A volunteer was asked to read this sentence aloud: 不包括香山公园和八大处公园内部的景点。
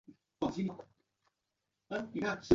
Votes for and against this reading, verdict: 0, 2, rejected